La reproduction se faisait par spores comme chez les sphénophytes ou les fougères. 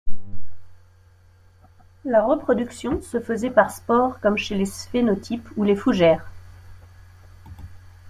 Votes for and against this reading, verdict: 0, 2, rejected